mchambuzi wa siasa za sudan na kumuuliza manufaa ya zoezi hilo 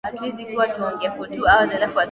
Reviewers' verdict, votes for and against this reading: rejected, 0, 2